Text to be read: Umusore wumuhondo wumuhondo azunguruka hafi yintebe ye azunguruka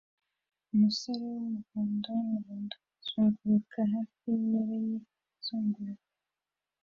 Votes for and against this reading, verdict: 1, 2, rejected